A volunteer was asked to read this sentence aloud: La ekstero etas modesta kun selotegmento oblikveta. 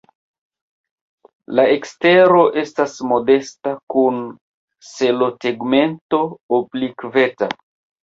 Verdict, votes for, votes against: accepted, 2, 0